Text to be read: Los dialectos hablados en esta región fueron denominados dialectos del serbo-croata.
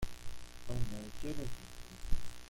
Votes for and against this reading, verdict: 0, 2, rejected